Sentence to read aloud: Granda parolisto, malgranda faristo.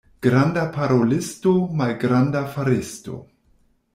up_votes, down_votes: 2, 0